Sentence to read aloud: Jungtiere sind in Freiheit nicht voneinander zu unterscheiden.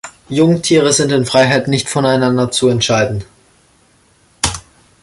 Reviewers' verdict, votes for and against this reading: rejected, 0, 2